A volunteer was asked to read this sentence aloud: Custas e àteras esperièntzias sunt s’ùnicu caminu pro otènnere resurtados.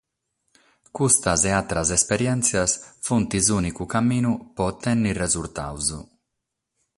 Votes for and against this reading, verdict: 6, 6, rejected